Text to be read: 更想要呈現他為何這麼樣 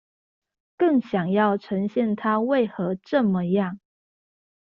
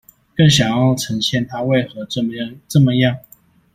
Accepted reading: first